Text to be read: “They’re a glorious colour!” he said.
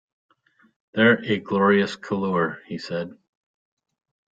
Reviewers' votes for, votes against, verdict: 1, 2, rejected